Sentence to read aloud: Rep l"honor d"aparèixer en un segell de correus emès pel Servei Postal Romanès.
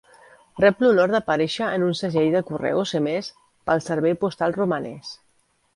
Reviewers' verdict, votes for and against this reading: accepted, 2, 0